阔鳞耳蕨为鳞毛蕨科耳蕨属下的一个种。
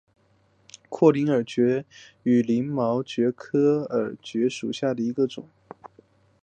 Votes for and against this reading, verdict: 6, 1, accepted